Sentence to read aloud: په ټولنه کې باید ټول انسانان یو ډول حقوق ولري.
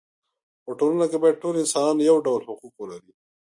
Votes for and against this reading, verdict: 0, 2, rejected